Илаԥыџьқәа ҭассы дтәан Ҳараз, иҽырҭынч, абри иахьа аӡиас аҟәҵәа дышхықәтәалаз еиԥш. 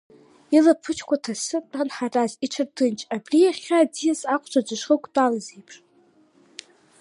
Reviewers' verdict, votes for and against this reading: rejected, 1, 2